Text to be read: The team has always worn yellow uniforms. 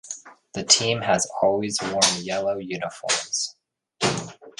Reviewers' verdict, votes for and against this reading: accepted, 2, 0